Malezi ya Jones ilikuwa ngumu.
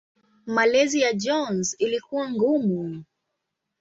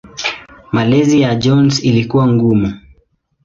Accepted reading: second